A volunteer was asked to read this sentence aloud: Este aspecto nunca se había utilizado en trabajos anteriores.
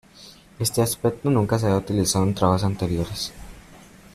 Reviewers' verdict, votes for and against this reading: accepted, 2, 0